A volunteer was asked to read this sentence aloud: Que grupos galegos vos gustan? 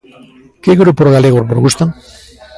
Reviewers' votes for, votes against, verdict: 1, 2, rejected